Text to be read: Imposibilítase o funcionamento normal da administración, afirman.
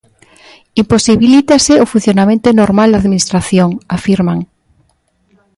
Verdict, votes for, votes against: accepted, 2, 0